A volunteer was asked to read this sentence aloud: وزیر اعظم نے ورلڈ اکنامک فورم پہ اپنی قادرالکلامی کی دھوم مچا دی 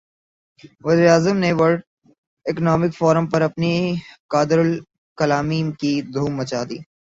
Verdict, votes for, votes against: rejected, 2, 3